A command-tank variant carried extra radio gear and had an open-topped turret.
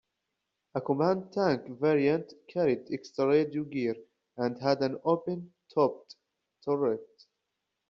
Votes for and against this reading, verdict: 0, 2, rejected